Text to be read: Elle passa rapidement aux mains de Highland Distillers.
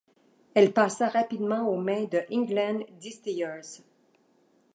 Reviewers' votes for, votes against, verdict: 1, 2, rejected